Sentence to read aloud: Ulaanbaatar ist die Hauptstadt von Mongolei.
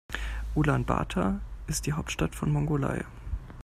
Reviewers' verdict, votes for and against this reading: accepted, 2, 0